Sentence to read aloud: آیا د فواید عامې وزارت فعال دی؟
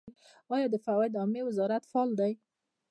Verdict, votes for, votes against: accepted, 3, 2